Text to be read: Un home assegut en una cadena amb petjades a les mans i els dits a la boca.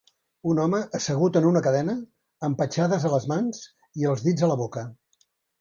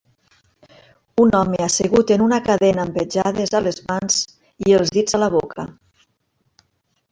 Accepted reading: first